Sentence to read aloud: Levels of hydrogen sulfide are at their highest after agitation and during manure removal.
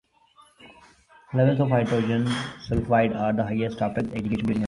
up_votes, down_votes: 0, 2